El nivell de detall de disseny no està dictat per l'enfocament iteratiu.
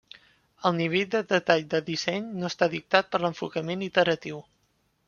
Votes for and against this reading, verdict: 0, 2, rejected